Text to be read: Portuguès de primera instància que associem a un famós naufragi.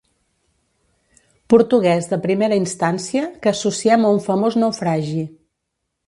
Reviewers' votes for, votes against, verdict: 2, 0, accepted